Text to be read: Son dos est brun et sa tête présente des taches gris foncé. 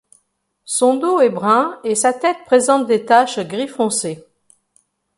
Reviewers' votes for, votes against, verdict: 2, 0, accepted